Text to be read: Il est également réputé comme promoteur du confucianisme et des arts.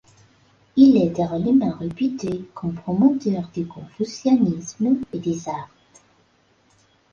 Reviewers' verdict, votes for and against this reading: rejected, 0, 2